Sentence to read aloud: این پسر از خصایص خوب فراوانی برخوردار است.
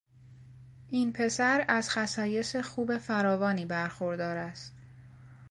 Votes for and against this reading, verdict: 2, 0, accepted